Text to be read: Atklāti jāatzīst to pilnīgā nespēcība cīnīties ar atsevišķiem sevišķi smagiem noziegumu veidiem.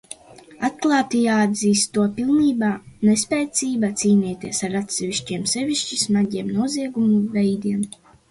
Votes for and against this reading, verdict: 2, 1, accepted